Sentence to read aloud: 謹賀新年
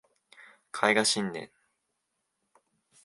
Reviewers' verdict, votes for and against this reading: rejected, 0, 2